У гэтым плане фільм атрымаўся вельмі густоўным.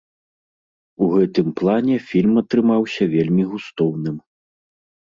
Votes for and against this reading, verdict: 2, 0, accepted